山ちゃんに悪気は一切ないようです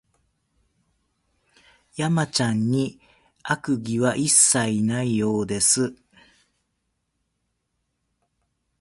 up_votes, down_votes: 1, 2